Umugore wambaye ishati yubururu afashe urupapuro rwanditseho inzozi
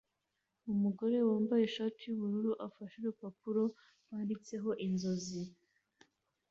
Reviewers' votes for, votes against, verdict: 2, 0, accepted